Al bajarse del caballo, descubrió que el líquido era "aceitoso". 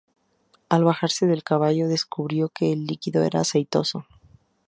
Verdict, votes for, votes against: accepted, 2, 0